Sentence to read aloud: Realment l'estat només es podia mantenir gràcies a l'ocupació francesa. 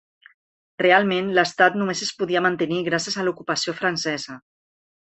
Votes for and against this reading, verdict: 4, 0, accepted